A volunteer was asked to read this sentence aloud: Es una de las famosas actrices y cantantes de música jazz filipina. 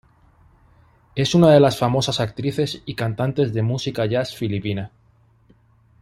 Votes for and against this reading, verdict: 2, 0, accepted